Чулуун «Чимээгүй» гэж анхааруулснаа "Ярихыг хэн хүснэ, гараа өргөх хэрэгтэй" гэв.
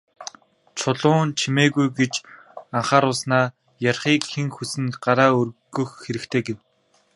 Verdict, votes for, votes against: accepted, 2, 0